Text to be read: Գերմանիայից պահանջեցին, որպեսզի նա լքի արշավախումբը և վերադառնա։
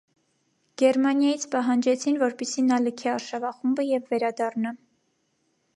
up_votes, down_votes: 2, 0